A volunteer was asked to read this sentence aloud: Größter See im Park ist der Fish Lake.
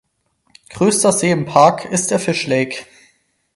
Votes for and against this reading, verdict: 4, 0, accepted